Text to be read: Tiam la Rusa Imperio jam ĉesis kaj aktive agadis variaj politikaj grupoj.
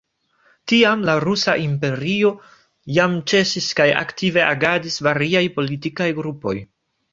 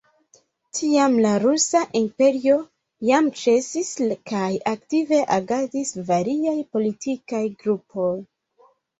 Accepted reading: first